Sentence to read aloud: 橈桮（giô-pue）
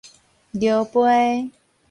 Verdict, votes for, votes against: accepted, 4, 0